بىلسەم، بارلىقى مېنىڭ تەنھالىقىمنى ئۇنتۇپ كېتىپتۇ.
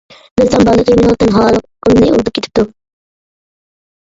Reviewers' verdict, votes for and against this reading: rejected, 0, 2